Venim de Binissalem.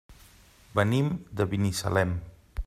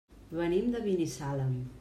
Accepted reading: first